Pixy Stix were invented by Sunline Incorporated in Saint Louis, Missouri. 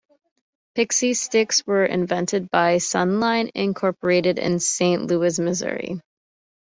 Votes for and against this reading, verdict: 2, 0, accepted